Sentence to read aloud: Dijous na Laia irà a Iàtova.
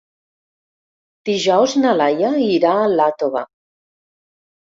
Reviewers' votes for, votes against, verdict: 2, 3, rejected